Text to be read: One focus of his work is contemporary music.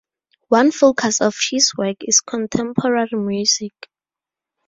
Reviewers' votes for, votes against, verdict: 0, 2, rejected